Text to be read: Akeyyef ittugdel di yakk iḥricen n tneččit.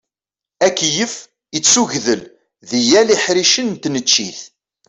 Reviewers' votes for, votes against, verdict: 1, 2, rejected